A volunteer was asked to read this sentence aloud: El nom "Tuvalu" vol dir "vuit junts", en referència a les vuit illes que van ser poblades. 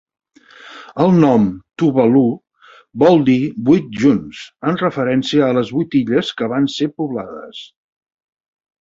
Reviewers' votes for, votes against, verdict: 2, 0, accepted